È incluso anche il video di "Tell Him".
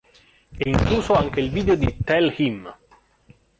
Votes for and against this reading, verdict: 2, 1, accepted